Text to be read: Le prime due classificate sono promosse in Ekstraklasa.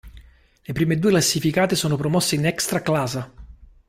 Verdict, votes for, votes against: accepted, 3, 0